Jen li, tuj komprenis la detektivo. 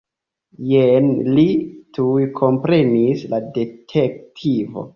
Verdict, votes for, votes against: accepted, 2, 0